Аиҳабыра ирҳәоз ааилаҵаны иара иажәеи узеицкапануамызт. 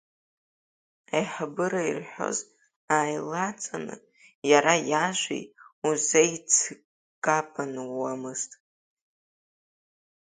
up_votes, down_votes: 0, 2